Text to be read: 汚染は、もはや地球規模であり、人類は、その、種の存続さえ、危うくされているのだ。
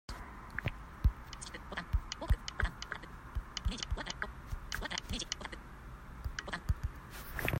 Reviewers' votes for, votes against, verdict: 0, 2, rejected